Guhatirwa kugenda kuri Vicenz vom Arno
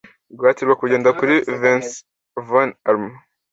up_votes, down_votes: 2, 0